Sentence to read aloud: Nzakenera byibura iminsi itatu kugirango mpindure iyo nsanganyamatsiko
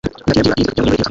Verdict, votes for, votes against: rejected, 0, 2